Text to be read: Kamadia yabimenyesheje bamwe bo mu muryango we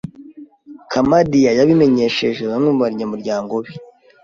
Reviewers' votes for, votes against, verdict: 1, 2, rejected